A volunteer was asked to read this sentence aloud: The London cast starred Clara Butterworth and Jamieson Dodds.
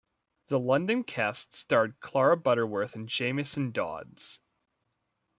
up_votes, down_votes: 1, 2